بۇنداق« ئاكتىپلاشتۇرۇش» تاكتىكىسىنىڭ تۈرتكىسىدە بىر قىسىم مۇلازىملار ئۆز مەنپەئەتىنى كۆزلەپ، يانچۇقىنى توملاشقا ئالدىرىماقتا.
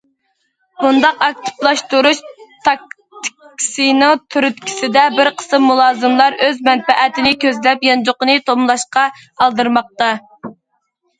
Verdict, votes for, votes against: rejected, 0, 2